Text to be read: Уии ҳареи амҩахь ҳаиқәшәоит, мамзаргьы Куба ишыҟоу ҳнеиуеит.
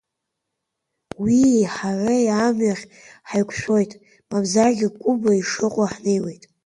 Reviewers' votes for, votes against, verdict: 2, 1, accepted